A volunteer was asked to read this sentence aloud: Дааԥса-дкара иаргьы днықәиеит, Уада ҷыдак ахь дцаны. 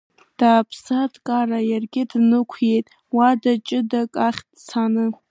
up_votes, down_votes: 1, 2